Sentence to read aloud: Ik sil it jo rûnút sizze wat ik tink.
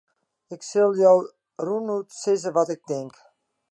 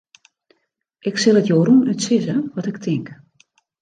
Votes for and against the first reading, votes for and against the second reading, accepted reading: 1, 2, 3, 0, second